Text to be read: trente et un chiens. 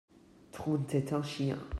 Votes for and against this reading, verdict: 1, 2, rejected